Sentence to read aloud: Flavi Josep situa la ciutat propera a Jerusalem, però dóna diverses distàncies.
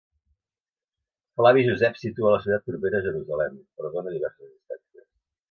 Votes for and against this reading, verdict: 0, 2, rejected